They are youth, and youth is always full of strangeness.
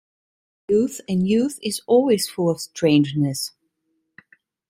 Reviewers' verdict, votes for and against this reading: rejected, 1, 2